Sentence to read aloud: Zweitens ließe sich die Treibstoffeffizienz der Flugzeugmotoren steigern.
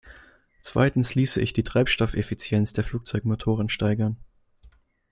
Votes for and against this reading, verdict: 1, 2, rejected